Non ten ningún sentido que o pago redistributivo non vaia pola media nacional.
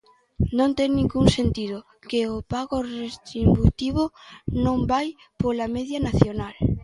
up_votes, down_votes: 0, 2